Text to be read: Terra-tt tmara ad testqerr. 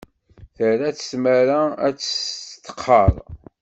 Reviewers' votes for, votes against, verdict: 2, 0, accepted